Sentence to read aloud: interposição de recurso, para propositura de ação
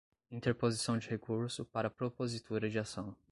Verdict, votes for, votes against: accepted, 2, 0